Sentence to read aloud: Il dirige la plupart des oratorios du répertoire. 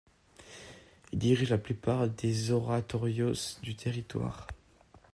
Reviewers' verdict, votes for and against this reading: rejected, 0, 2